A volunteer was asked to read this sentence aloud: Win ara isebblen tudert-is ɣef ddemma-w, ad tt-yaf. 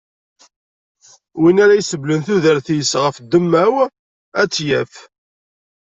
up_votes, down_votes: 2, 0